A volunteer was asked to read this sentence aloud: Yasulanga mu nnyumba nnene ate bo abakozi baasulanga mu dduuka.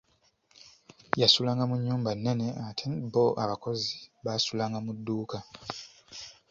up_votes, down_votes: 2, 0